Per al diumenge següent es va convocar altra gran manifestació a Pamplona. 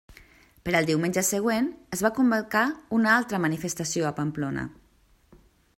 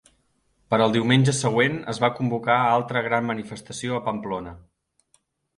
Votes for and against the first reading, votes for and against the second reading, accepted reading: 0, 2, 2, 0, second